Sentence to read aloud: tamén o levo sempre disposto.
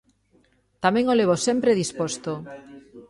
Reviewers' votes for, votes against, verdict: 0, 2, rejected